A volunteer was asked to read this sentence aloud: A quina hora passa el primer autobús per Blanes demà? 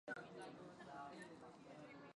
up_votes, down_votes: 2, 0